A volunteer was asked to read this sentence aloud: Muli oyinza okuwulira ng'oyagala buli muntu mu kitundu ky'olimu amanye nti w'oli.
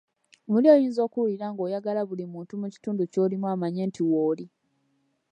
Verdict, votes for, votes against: accepted, 2, 1